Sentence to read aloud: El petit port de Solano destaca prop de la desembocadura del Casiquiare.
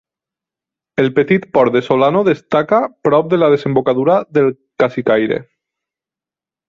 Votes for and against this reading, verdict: 0, 2, rejected